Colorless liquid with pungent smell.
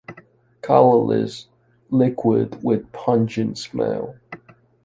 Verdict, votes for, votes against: accepted, 2, 0